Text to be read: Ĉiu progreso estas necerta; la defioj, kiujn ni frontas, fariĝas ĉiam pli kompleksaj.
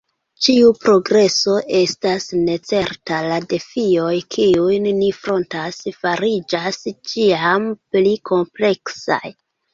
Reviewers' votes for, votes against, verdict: 2, 0, accepted